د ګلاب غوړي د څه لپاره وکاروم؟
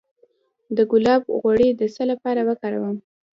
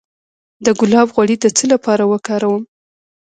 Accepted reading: second